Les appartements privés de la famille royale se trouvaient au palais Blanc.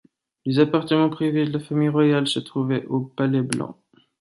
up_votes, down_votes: 2, 0